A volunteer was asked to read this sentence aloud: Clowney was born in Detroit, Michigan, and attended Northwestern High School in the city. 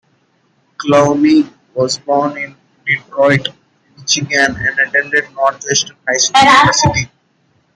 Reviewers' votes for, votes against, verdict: 0, 2, rejected